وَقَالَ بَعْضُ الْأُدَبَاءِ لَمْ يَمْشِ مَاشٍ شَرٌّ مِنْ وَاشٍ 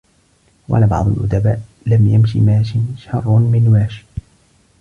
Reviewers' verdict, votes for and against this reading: accepted, 2, 0